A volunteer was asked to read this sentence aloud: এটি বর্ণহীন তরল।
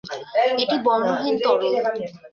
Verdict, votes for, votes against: accepted, 2, 1